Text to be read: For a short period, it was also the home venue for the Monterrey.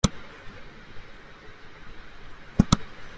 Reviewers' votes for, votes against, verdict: 0, 2, rejected